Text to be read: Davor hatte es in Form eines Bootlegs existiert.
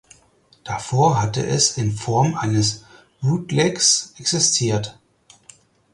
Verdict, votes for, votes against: accepted, 4, 0